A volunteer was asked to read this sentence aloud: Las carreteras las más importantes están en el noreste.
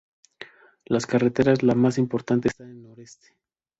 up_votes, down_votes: 0, 2